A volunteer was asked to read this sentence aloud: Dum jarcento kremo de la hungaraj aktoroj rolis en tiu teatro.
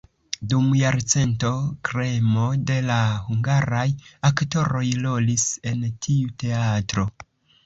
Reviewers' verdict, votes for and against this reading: accepted, 2, 0